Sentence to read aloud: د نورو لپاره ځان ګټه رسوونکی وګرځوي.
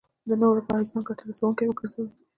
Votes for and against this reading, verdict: 2, 1, accepted